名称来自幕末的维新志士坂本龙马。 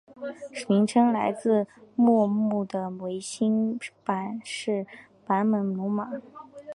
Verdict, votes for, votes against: rejected, 0, 2